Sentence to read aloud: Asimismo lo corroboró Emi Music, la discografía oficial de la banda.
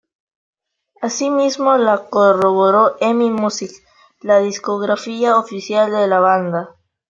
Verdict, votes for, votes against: accepted, 2, 1